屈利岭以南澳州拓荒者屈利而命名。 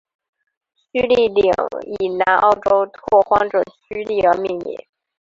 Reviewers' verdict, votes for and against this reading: accepted, 5, 3